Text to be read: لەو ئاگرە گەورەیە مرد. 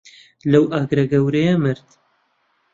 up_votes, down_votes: 2, 0